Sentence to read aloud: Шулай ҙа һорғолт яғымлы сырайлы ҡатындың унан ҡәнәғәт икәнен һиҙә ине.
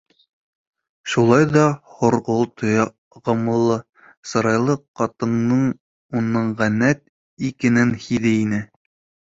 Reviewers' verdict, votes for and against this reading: rejected, 1, 4